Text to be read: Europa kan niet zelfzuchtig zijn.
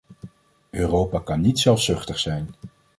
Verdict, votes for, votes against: accepted, 2, 0